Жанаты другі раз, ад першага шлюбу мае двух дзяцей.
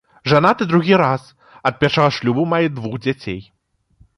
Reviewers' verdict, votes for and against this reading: accepted, 2, 0